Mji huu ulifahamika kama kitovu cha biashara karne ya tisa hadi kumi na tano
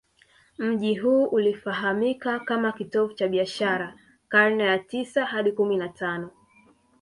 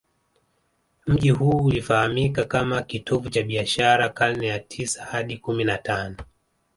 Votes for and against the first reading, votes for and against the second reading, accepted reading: 0, 2, 7, 0, second